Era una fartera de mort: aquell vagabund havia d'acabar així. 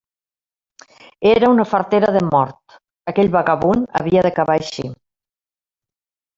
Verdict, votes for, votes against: accepted, 2, 1